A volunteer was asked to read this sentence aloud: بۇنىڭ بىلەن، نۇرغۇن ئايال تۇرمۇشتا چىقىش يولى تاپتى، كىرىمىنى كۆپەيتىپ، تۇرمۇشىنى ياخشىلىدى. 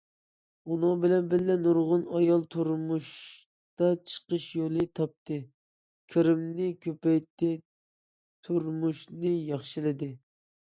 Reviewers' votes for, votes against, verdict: 0, 2, rejected